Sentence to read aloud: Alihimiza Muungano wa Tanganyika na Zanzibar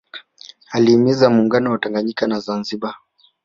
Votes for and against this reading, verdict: 1, 2, rejected